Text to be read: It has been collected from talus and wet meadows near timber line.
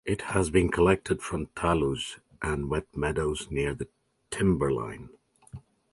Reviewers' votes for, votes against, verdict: 0, 2, rejected